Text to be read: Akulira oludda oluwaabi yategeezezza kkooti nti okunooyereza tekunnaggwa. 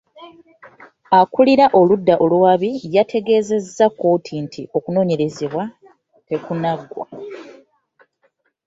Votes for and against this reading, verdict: 2, 3, rejected